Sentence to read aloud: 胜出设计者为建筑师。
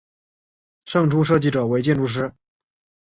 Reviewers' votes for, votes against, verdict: 3, 0, accepted